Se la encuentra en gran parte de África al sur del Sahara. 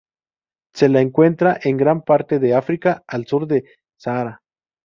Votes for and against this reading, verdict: 0, 2, rejected